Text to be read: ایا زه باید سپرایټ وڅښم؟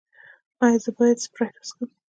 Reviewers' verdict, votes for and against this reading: accepted, 2, 0